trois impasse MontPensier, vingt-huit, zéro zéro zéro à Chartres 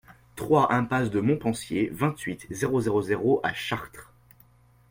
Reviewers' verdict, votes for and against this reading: rejected, 1, 2